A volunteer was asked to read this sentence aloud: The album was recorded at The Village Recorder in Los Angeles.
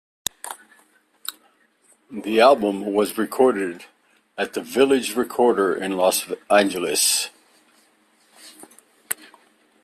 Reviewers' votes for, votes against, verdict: 1, 2, rejected